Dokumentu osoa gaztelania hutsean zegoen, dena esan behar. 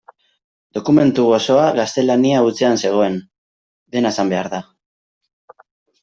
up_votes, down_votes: 0, 2